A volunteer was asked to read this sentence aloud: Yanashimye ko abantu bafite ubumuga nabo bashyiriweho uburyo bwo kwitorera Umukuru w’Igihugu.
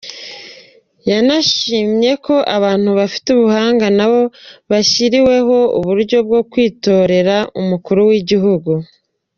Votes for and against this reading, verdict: 2, 1, accepted